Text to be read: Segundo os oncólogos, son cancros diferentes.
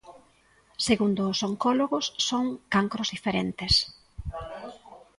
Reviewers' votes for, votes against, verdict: 2, 0, accepted